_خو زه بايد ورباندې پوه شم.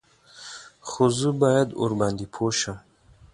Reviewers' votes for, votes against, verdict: 2, 0, accepted